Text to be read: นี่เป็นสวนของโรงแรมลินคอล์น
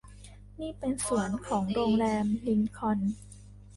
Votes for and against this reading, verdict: 2, 0, accepted